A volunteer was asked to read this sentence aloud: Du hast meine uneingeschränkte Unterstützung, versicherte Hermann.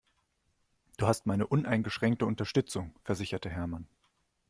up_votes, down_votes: 2, 1